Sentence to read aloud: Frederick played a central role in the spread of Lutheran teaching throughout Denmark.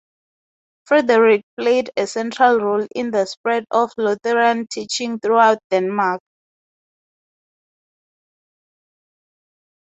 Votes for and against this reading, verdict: 2, 0, accepted